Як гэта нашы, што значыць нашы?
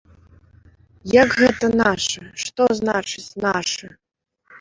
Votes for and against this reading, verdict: 0, 2, rejected